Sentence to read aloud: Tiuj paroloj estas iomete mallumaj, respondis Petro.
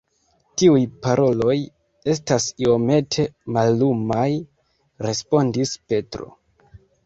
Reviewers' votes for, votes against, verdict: 1, 2, rejected